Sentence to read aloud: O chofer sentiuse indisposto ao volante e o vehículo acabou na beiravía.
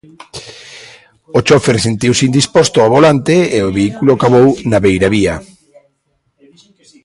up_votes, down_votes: 0, 2